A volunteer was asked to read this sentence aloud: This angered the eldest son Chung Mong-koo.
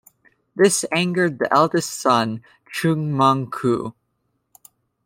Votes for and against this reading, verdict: 2, 0, accepted